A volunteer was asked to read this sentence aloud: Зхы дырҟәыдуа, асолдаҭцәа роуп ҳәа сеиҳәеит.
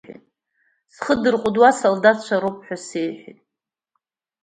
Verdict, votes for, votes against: accepted, 2, 0